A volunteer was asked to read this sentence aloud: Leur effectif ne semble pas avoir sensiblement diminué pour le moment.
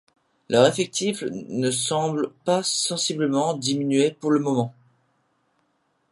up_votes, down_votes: 1, 2